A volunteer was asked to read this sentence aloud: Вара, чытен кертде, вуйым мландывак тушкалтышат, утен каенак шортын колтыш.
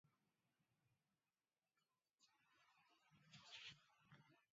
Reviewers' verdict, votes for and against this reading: rejected, 1, 2